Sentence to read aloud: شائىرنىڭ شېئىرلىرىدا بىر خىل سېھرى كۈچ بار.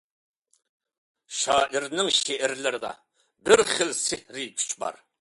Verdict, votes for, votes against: accepted, 2, 0